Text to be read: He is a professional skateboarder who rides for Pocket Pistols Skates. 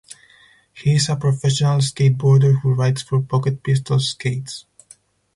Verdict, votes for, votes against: accepted, 4, 0